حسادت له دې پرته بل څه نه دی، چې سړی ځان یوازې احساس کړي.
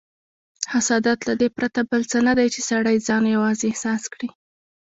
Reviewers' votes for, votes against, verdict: 0, 2, rejected